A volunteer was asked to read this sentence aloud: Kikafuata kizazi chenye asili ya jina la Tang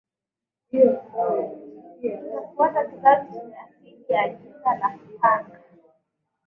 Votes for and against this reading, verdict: 1, 2, rejected